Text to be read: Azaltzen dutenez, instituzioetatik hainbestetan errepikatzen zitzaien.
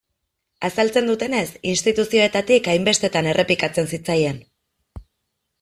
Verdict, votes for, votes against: accepted, 2, 0